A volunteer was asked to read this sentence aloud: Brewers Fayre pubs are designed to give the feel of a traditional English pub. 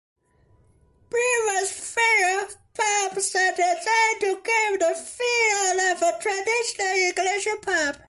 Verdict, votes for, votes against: rejected, 0, 2